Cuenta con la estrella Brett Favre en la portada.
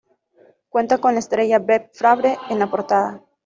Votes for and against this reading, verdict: 2, 1, accepted